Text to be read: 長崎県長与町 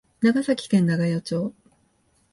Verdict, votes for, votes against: accepted, 2, 0